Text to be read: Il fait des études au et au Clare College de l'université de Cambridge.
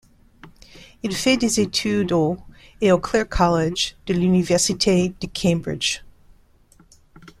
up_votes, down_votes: 0, 2